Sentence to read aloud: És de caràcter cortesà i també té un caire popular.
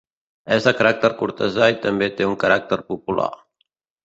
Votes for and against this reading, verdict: 0, 2, rejected